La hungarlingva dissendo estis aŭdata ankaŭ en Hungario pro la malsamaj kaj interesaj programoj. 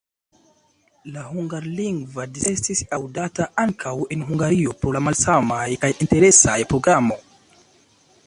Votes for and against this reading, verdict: 2, 1, accepted